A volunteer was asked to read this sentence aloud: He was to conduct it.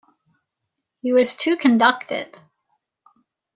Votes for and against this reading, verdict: 1, 2, rejected